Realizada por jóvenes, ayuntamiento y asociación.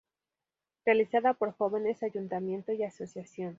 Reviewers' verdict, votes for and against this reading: rejected, 0, 2